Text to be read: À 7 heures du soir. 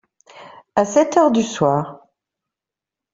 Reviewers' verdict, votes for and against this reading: rejected, 0, 2